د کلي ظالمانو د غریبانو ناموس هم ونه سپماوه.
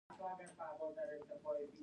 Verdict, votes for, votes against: rejected, 0, 2